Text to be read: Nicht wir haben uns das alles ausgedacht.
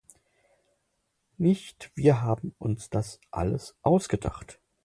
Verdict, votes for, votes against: accepted, 4, 0